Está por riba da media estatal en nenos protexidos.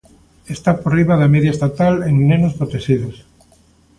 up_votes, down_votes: 2, 0